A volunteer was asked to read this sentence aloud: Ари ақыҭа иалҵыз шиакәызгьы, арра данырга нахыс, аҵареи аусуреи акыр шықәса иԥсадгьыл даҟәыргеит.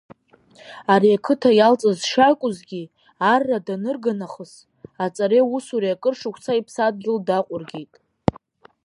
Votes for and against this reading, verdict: 0, 2, rejected